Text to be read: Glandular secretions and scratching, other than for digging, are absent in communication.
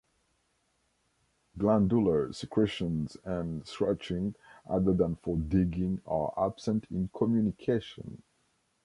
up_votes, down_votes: 2, 0